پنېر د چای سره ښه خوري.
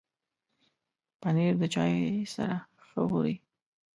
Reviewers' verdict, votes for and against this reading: accepted, 2, 1